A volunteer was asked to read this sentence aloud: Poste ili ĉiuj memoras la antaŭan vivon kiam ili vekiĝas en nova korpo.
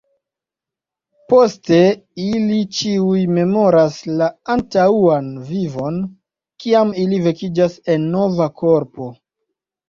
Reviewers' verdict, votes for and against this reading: rejected, 1, 2